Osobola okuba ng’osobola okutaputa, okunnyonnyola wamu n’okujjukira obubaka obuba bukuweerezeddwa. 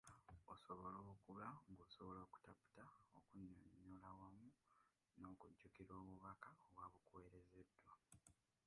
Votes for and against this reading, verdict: 0, 2, rejected